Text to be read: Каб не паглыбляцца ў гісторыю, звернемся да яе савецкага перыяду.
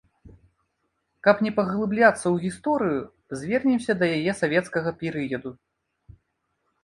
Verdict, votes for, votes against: accepted, 2, 0